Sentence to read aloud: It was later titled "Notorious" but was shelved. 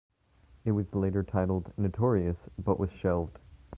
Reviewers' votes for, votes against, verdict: 1, 2, rejected